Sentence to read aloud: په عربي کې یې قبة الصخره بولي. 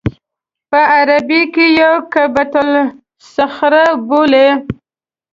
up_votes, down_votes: 2, 1